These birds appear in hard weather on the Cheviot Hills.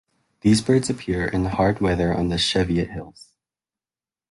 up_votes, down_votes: 2, 1